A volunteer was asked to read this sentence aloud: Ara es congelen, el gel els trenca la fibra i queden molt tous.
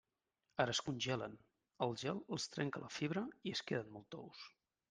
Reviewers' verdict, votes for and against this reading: rejected, 1, 2